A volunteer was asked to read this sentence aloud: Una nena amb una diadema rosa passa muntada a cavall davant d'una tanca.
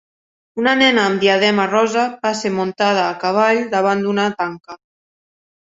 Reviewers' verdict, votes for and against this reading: rejected, 0, 2